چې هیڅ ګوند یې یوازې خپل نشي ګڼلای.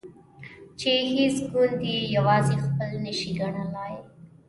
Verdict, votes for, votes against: accepted, 2, 0